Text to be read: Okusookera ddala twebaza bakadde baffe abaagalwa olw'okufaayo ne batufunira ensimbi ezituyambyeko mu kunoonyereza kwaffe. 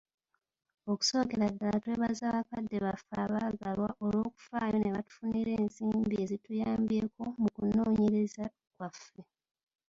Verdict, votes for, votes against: accepted, 2, 0